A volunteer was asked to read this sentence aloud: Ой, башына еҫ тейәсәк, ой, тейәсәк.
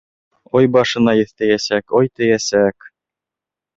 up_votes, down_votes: 2, 0